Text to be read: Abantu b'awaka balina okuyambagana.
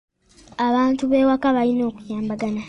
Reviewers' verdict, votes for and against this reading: rejected, 1, 2